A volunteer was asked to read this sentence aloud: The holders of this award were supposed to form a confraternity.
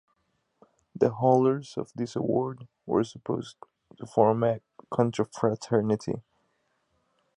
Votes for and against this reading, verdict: 1, 2, rejected